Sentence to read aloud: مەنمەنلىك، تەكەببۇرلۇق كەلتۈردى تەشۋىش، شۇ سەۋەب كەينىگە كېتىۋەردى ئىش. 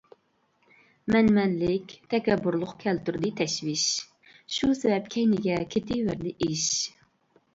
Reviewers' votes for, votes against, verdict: 2, 0, accepted